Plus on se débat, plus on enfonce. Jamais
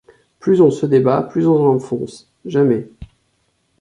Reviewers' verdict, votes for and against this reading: rejected, 1, 2